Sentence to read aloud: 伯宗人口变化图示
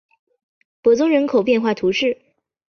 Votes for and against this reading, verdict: 6, 0, accepted